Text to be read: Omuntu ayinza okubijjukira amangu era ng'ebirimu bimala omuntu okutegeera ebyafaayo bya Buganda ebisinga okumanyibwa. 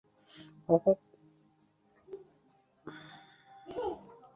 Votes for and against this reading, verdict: 0, 2, rejected